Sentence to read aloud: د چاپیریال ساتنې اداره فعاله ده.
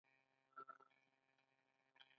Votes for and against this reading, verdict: 0, 2, rejected